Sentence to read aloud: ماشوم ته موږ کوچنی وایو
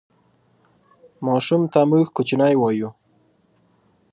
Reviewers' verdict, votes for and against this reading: accepted, 2, 0